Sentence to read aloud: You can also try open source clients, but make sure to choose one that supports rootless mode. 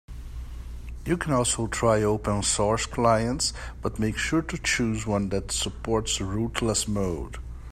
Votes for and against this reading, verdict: 3, 0, accepted